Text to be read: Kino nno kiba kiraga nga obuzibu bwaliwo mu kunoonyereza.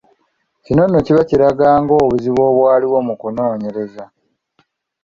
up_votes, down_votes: 2, 0